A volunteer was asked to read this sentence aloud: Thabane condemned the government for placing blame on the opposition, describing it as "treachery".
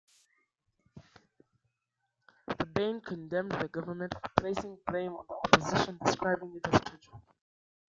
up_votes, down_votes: 0, 2